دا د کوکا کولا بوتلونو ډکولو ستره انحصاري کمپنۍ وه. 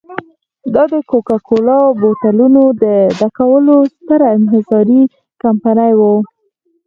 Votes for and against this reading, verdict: 2, 4, rejected